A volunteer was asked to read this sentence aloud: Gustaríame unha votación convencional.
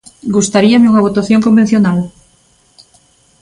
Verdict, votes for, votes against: accepted, 2, 0